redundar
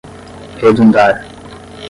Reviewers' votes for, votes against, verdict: 5, 5, rejected